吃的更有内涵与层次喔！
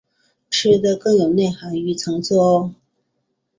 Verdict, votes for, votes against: accepted, 5, 0